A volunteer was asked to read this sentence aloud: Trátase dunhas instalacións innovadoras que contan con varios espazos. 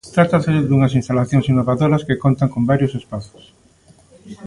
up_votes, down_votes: 2, 0